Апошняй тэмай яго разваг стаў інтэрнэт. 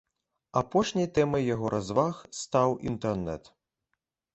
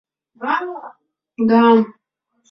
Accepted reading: first